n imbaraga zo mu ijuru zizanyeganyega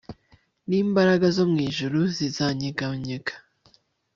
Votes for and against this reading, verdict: 2, 0, accepted